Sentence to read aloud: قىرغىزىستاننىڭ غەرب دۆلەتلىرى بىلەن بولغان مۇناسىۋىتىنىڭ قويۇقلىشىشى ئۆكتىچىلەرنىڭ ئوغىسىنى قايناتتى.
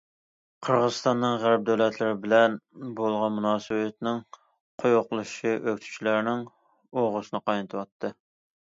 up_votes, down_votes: 0, 2